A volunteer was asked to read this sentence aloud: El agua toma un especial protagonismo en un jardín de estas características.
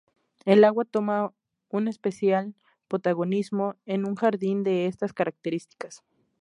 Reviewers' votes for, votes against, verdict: 2, 2, rejected